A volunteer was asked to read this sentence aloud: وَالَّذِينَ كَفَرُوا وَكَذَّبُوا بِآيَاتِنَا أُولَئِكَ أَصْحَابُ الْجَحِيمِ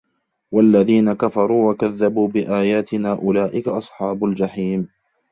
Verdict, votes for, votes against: rejected, 1, 2